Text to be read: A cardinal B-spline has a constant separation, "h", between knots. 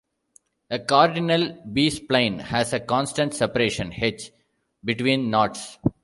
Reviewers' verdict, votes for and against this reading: accepted, 2, 0